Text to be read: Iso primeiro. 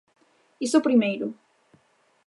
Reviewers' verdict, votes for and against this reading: accepted, 2, 0